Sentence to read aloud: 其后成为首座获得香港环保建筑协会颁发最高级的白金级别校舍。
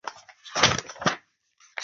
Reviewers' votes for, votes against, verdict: 0, 2, rejected